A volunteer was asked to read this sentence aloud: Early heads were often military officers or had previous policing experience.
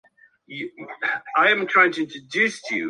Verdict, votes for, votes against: rejected, 0, 2